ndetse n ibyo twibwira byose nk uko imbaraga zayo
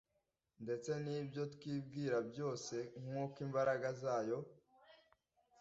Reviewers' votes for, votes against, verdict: 2, 0, accepted